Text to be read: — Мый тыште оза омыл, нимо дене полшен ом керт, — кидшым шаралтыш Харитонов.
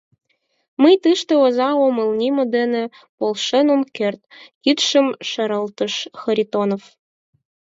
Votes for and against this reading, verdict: 6, 8, rejected